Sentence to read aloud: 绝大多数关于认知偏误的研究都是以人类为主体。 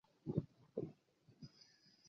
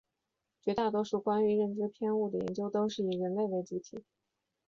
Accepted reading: second